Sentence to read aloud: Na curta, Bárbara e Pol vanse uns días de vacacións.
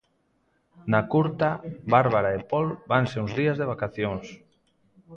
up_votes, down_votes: 1, 2